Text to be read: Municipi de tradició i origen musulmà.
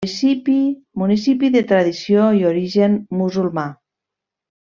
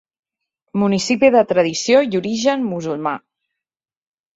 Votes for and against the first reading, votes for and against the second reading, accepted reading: 0, 2, 2, 0, second